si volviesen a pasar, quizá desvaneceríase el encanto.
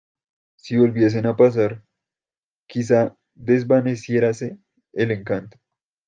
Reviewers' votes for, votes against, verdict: 0, 2, rejected